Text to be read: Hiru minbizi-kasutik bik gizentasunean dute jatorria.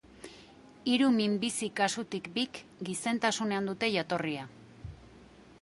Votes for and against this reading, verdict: 2, 0, accepted